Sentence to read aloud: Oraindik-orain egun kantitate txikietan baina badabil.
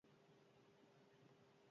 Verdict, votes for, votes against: rejected, 0, 2